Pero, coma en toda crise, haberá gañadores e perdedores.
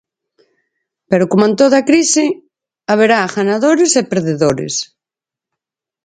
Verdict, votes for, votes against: rejected, 0, 4